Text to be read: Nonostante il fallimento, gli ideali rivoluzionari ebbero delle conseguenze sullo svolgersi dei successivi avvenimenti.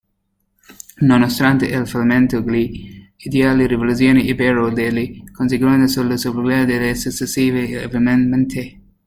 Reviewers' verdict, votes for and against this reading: rejected, 0, 2